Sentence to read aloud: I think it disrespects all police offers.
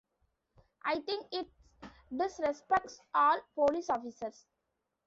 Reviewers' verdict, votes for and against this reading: rejected, 1, 2